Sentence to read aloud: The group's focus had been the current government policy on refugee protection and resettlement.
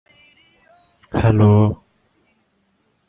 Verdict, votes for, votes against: rejected, 0, 2